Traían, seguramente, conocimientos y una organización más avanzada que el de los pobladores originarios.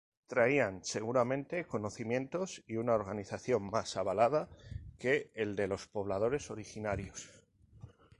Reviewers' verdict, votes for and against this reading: rejected, 0, 4